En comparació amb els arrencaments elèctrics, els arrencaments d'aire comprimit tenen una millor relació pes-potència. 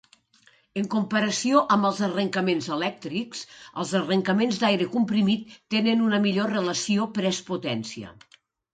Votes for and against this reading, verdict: 1, 2, rejected